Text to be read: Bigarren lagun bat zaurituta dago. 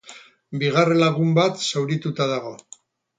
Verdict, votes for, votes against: rejected, 0, 2